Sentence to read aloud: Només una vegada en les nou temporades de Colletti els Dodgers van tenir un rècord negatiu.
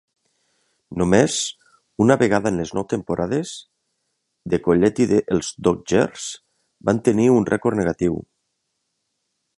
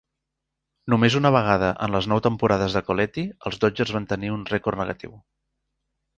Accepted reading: second